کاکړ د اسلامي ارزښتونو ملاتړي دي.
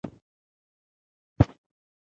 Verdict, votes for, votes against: accepted, 3, 0